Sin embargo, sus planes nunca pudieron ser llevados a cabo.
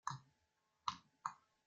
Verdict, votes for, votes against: rejected, 0, 2